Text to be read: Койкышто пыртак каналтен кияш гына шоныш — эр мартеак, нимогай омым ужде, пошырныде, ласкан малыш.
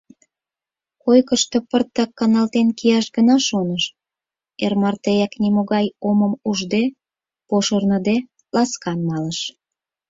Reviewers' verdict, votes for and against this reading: accepted, 4, 0